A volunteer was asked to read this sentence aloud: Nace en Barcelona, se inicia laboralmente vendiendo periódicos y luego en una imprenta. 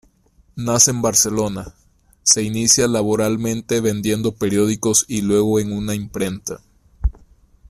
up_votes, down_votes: 2, 0